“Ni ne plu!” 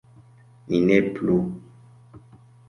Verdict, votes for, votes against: accepted, 2, 0